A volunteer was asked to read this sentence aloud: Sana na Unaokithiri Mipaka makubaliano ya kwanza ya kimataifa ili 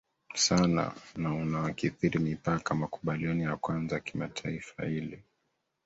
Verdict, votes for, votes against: accepted, 2, 1